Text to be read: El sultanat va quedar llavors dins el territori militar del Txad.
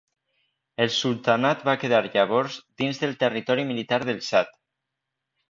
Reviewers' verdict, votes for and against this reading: rejected, 0, 2